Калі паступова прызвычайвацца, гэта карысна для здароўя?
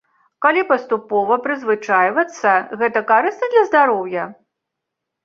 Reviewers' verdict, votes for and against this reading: accepted, 2, 0